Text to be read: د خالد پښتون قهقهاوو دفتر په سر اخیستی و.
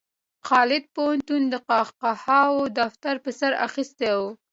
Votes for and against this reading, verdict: 2, 1, accepted